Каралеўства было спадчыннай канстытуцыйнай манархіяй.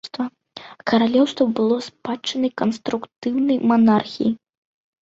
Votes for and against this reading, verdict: 0, 2, rejected